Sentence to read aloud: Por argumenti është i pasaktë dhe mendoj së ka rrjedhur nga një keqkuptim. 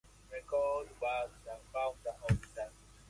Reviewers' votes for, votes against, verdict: 0, 2, rejected